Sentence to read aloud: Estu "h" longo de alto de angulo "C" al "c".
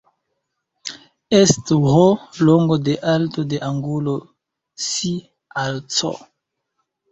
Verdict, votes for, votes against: rejected, 1, 2